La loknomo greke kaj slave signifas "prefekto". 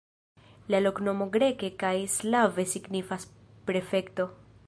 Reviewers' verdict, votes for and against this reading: accepted, 2, 0